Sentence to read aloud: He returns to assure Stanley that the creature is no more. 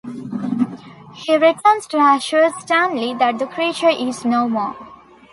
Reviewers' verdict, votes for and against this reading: accepted, 2, 0